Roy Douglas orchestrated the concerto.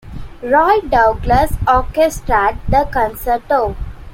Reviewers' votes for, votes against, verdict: 0, 2, rejected